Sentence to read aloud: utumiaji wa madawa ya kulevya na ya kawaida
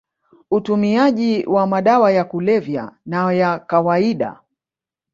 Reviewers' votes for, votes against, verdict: 2, 0, accepted